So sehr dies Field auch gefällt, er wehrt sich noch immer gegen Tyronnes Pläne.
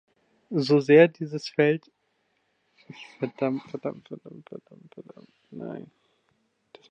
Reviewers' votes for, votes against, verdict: 0, 2, rejected